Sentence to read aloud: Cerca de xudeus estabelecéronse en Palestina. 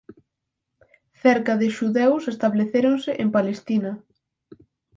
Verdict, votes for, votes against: rejected, 2, 4